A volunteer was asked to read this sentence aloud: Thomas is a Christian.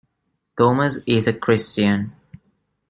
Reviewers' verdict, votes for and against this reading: rejected, 1, 2